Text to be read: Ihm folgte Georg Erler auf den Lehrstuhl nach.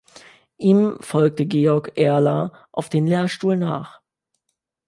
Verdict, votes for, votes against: accepted, 2, 0